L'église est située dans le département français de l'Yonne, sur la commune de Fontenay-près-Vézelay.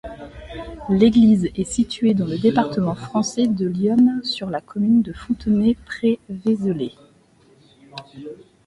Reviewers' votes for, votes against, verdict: 2, 0, accepted